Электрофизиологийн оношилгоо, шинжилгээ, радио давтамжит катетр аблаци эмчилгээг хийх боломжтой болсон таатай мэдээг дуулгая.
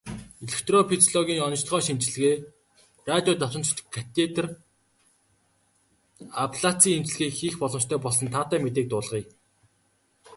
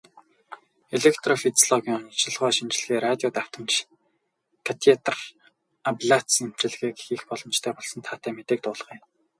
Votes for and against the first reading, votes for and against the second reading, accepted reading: 3, 0, 0, 2, first